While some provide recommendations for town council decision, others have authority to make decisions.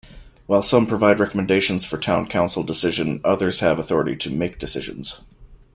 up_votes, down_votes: 2, 0